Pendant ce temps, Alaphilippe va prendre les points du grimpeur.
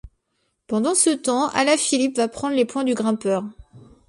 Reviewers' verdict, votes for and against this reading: accepted, 2, 0